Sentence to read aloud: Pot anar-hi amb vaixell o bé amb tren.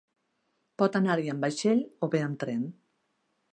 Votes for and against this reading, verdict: 5, 0, accepted